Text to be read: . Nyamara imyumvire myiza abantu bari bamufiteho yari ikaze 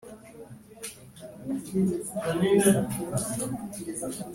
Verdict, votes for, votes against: rejected, 0, 2